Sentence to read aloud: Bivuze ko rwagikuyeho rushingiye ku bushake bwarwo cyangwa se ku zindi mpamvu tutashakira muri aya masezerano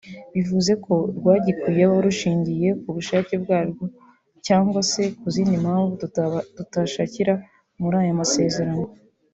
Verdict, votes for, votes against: rejected, 0, 2